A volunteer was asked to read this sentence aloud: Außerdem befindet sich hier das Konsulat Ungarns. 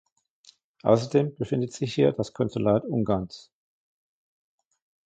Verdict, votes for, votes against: accepted, 2, 0